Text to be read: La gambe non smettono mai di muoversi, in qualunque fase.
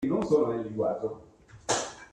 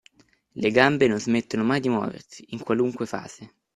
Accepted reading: second